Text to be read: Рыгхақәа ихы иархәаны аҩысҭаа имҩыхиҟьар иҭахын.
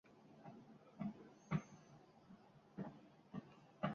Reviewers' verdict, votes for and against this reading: rejected, 0, 2